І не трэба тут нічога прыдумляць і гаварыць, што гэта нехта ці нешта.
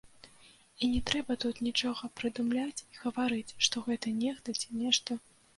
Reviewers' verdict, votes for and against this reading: accepted, 2, 0